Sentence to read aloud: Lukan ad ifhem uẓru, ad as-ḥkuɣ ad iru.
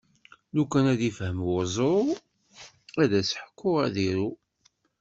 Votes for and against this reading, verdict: 2, 0, accepted